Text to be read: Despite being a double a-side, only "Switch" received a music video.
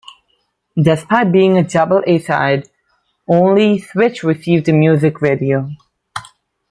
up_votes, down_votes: 2, 1